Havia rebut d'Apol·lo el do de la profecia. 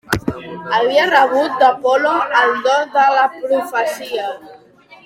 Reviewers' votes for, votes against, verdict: 2, 0, accepted